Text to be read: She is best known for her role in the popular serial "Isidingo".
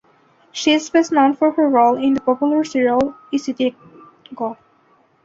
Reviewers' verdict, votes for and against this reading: rejected, 1, 2